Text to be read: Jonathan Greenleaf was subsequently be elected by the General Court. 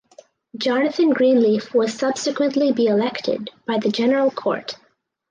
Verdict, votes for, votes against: accepted, 4, 0